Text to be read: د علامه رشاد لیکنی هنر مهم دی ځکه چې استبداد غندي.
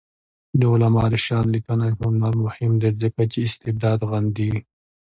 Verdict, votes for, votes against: accepted, 2, 0